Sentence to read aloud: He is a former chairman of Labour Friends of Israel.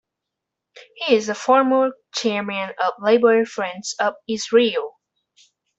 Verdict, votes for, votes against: accepted, 2, 1